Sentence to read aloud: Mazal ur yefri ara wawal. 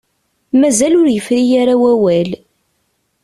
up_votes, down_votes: 2, 0